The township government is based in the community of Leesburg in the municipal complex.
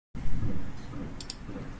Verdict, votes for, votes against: rejected, 0, 2